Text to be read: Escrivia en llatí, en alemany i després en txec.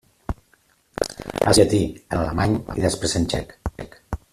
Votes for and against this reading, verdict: 0, 2, rejected